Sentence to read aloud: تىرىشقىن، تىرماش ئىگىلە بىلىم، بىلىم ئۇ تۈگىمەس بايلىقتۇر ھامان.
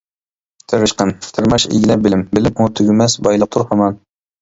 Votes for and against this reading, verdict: 1, 2, rejected